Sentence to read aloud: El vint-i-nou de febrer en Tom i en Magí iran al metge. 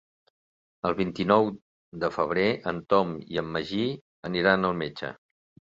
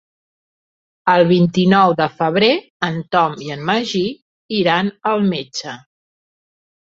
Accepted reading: second